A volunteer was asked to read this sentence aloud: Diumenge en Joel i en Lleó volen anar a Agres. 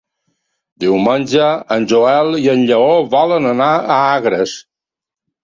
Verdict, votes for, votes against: accepted, 3, 0